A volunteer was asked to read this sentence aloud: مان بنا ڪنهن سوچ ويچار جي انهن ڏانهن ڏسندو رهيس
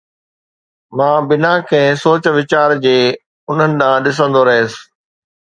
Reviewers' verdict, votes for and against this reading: accepted, 2, 0